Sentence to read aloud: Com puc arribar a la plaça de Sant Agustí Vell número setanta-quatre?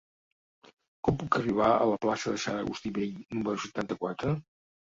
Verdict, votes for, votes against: accepted, 2, 0